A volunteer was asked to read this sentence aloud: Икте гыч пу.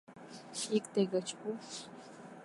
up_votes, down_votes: 2, 0